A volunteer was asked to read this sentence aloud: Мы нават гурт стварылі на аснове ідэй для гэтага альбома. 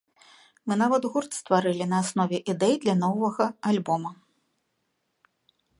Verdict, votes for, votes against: rejected, 0, 3